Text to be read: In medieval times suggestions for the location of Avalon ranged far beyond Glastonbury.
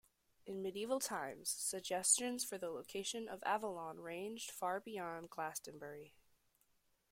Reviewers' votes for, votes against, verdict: 2, 0, accepted